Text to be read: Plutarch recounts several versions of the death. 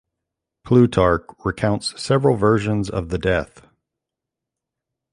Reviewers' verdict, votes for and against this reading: accepted, 2, 0